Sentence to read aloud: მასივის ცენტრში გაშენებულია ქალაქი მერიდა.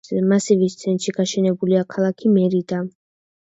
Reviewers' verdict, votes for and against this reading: accepted, 2, 0